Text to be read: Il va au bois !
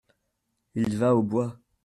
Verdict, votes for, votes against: accepted, 2, 0